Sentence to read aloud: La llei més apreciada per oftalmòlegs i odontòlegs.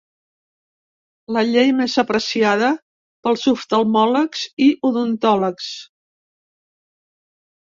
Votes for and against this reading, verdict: 1, 3, rejected